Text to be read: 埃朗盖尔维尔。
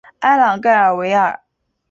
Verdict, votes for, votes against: accepted, 2, 0